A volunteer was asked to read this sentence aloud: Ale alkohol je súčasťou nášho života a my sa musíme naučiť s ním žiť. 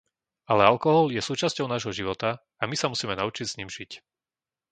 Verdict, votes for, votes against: accepted, 2, 0